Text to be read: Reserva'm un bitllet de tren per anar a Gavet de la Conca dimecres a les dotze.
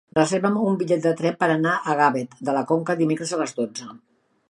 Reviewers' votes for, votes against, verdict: 0, 2, rejected